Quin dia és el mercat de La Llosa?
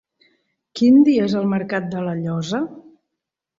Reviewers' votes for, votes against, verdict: 6, 0, accepted